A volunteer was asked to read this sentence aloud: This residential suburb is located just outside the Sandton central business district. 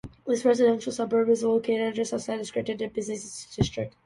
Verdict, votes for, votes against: rejected, 0, 3